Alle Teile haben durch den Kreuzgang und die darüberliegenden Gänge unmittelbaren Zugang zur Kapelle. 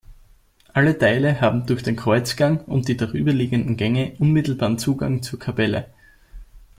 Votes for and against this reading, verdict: 2, 0, accepted